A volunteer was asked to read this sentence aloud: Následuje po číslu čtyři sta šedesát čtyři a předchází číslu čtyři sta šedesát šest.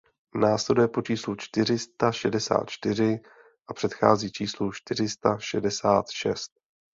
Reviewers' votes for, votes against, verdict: 2, 0, accepted